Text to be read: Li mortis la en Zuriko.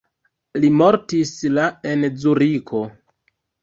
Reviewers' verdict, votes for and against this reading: rejected, 1, 2